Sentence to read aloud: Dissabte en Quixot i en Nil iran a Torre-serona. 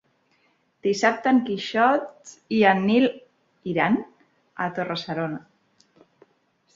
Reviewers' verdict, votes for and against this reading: accepted, 5, 1